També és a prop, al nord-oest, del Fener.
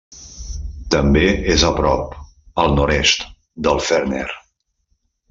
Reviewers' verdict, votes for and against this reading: rejected, 0, 2